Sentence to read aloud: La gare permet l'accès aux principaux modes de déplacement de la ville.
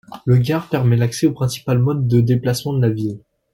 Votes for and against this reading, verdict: 0, 2, rejected